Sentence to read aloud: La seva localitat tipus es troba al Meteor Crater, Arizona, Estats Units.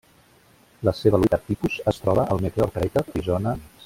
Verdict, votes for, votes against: rejected, 0, 2